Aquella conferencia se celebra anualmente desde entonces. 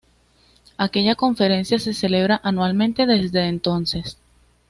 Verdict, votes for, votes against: accepted, 2, 0